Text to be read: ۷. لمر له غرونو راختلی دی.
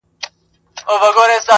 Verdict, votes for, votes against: rejected, 0, 2